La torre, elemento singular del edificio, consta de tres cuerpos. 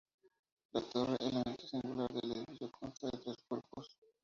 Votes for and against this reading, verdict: 0, 4, rejected